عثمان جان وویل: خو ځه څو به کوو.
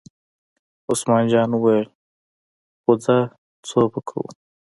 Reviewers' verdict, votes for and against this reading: accepted, 2, 0